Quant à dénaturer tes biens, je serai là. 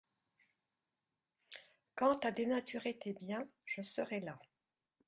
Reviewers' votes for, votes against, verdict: 2, 0, accepted